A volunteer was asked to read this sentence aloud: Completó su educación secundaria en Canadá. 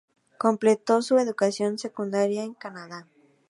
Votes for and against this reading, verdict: 2, 0, accepted